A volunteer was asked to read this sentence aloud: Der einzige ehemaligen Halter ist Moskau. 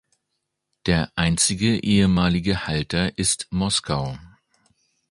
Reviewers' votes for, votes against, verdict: 2, 0, accepted